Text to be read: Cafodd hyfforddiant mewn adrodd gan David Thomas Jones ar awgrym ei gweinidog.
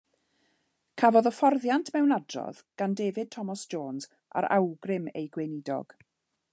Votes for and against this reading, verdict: 2, 0, accepted